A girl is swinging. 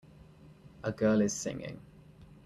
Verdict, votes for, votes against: rejected, 1, 2